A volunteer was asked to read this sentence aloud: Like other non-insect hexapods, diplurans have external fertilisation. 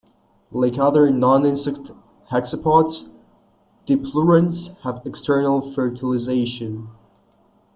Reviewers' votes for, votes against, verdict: 2, 0, accepted